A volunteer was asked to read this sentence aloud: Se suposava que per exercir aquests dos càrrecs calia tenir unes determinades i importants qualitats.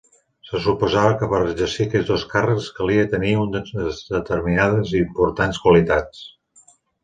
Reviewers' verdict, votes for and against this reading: rejected, 0, 2